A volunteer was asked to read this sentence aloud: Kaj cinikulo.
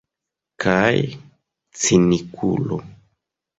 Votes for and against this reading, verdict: 1, 2, rejected